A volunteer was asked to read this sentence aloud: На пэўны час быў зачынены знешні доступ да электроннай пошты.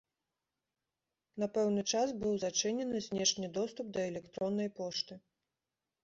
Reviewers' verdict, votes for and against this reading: accepted, 2, 0